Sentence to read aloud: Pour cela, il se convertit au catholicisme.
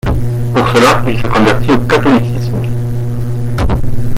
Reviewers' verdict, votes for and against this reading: rejected, 0, 2